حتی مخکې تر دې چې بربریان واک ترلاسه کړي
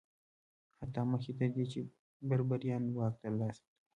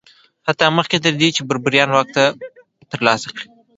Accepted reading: second